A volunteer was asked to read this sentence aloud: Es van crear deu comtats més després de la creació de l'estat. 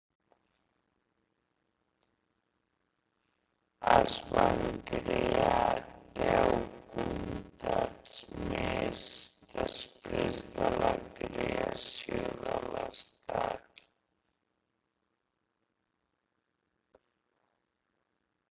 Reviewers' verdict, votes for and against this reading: rejected, 0, 2